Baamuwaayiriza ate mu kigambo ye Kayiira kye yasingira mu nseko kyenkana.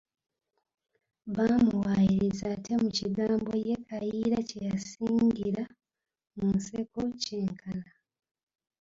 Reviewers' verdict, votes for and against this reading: rejected, 1, 3